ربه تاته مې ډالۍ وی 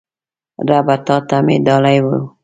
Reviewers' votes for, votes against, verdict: 2, 1, accepted